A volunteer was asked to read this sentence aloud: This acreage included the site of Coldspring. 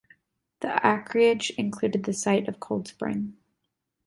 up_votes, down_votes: 1, 2